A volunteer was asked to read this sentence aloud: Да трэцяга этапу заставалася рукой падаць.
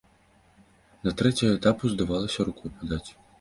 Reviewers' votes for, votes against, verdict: 0, 2, rejected